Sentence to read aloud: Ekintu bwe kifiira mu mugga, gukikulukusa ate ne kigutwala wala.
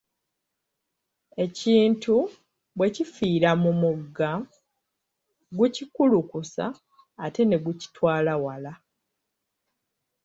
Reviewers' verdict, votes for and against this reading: rejected, 1, 2